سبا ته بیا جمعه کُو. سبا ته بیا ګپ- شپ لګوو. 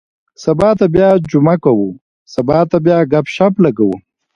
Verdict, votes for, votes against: accepted, 2, 0